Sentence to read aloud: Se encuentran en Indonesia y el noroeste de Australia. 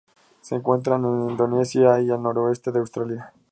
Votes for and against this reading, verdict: 0, 2, rejected